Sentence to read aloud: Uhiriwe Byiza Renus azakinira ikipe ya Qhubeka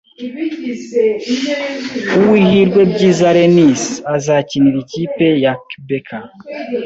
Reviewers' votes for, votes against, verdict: 1, 2, rejected